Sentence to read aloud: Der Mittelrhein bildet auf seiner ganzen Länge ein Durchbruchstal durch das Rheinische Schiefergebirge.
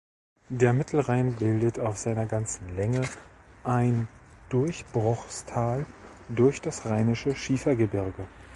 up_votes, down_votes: 1, 2